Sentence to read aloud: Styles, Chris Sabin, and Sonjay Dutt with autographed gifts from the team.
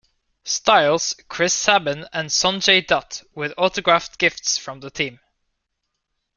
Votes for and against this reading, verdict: 2, 0, accepted